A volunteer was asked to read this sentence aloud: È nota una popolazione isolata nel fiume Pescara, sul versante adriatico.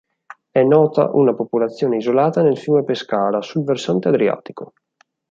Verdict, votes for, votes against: accepted, 4, 0